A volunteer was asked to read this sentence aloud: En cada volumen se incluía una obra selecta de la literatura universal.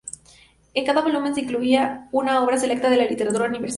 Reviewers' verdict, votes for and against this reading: rejected, 0, 2